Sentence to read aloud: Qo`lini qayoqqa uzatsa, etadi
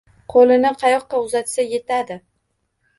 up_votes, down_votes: 1, 2